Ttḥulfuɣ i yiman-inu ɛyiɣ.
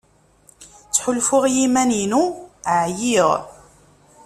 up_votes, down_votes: 2, 0